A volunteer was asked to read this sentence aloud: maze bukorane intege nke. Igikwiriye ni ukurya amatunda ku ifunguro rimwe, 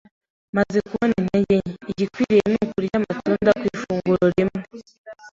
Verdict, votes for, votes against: rejected, 1, 2